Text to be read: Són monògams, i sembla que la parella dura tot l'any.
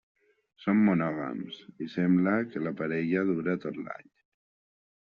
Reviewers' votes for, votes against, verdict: 2, 1, accepted